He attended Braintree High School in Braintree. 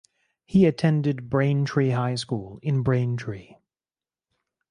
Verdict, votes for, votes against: accepted, 4, 0